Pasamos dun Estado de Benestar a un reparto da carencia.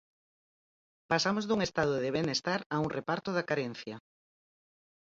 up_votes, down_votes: 4, 0